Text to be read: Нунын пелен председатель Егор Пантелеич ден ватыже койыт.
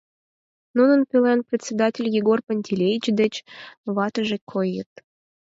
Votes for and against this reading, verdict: 2, 4, rejected